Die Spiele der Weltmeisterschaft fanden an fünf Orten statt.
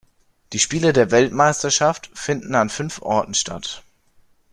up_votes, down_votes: 0, 2